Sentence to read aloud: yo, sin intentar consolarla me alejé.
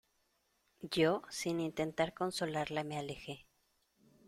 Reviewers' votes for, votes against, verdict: 2, 0, accepted